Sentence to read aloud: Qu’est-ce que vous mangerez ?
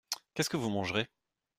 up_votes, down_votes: 2, 0